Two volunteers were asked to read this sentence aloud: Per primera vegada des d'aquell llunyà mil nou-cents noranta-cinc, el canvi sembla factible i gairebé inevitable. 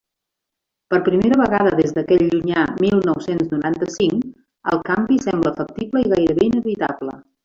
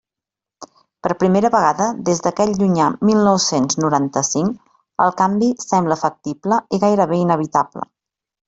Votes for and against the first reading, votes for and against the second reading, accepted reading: 1, 2, 3, 0, second